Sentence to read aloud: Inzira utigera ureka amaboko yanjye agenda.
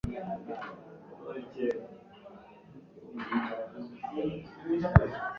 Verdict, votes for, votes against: rejected, 1, 3